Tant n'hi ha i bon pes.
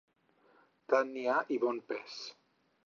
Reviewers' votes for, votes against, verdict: 6, 0, accepted